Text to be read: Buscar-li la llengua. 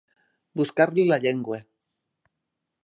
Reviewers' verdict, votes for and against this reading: accepted, 2, 0